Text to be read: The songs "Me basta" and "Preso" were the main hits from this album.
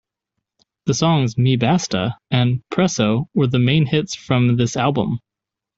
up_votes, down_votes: 2, 0